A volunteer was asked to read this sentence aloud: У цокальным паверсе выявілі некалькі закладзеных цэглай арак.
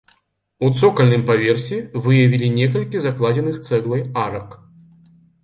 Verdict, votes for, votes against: accepted, 2, 0